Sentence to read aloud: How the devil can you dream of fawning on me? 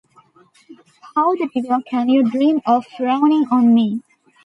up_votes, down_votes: 0, 2